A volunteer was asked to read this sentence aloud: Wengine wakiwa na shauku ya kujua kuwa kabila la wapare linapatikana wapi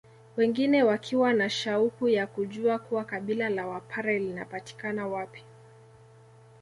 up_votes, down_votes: 2, 0